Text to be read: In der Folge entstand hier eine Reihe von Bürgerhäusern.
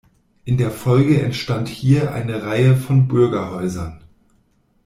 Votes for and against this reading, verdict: 2, 0, accepted